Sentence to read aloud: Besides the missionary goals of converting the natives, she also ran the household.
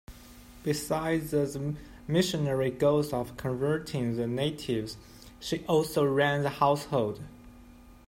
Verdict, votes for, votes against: rejected, 0, 2